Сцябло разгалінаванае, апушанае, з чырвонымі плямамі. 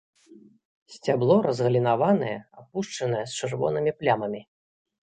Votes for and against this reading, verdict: 1, 2, rejected